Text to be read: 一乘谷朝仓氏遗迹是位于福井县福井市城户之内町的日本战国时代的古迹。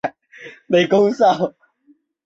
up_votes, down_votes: 0, 2